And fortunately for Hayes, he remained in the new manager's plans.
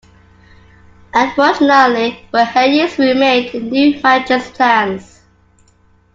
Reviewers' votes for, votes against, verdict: 1, 2, rejected